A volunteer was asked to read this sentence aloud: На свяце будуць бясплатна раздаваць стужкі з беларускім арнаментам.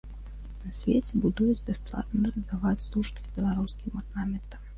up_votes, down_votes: 0, 2